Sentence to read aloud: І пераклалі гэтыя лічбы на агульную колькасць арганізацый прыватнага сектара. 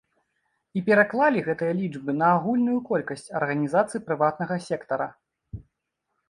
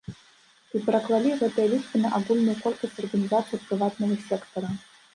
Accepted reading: first